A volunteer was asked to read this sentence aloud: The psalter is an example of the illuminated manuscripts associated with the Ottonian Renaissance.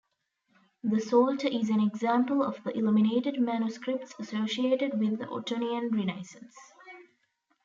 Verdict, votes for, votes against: rejected, 0, 2